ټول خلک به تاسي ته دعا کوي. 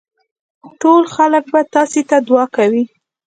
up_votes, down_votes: 2, 0